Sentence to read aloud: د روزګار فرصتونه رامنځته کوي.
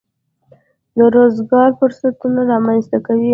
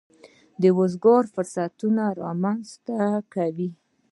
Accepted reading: second